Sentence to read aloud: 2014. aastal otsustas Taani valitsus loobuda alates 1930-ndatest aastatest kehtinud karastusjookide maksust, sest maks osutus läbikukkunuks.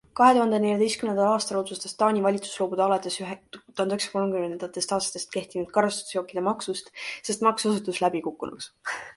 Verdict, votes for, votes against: rejected, 0, 2